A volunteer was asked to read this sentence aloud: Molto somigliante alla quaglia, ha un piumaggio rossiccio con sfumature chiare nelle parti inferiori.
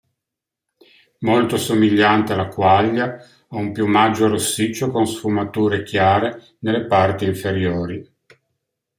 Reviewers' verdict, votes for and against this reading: accepted, 2, 0